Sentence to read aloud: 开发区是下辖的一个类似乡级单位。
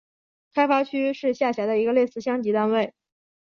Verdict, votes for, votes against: accepted, 2, 0